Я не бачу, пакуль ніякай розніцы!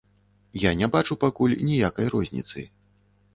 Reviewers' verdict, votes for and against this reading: accepted, 2, 0